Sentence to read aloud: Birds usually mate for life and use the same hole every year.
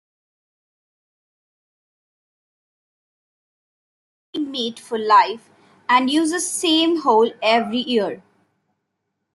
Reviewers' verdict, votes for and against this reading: rejected, 1, 2